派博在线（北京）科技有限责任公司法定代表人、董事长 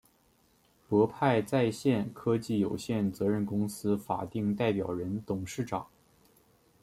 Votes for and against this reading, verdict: 1, 2, rejected